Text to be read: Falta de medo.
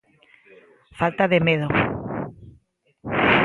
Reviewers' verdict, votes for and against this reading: accepted, 2, 0